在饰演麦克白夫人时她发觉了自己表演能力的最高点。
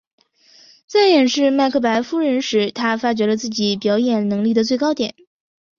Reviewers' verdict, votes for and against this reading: rejected, 1, 2